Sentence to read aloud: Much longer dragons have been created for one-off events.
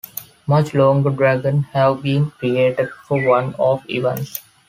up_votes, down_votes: 1, 2